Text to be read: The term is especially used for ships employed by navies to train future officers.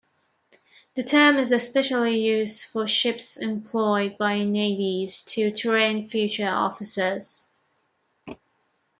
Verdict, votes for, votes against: accepted, 2, 0